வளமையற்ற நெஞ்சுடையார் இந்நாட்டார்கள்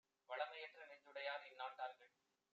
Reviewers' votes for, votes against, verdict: 1, 2, rejected